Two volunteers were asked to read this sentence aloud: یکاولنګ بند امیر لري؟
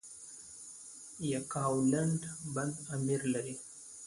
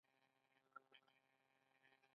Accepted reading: first